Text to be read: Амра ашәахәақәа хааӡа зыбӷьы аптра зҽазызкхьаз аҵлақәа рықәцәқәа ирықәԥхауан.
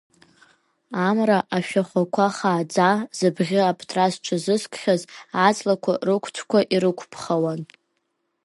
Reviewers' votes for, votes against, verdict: 2, 0, accepted